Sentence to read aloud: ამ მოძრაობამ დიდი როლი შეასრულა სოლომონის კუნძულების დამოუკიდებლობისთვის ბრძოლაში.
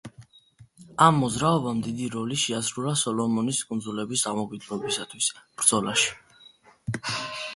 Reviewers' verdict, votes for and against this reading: accepted, 2, 0